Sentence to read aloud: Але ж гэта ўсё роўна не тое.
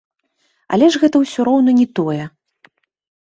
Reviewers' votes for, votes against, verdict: 2, 0, accepted